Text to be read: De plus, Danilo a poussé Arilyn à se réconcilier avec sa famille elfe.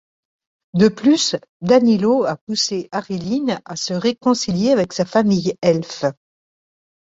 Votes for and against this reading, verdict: 2, 0, accepted